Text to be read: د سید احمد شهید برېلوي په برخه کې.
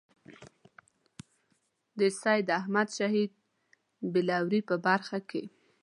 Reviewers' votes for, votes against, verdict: 1, 2, rejected